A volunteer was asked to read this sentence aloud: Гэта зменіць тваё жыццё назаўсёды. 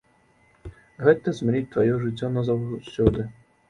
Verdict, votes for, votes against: rejected, 0, 2